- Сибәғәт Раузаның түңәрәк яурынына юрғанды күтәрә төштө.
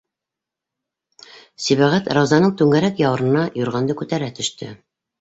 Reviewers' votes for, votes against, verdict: 4, 0, accepted